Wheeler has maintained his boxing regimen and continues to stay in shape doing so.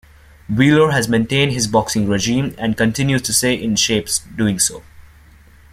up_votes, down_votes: 0, 2